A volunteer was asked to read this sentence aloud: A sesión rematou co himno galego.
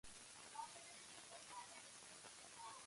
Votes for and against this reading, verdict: 0, 2, rejected